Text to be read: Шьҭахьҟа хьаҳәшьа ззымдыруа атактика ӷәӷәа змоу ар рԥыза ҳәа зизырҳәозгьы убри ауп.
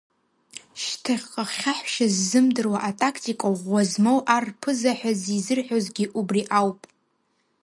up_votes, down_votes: 2, 1